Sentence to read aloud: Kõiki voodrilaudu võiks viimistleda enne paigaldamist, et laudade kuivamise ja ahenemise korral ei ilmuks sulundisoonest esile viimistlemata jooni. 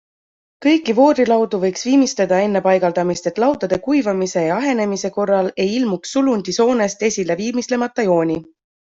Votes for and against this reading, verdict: 2, 0, accepted